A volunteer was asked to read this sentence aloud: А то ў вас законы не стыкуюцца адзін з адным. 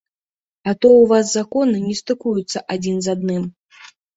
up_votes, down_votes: 2, 0